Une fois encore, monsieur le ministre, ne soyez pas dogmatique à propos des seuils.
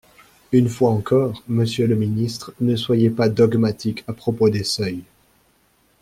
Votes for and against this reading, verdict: 2, 0, accepted